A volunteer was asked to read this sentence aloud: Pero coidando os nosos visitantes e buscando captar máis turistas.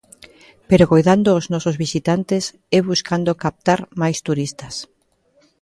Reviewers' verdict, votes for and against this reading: accepted, 2, 0